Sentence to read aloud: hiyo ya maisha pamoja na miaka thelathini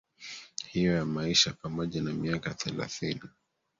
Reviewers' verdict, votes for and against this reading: rejected, 1, 2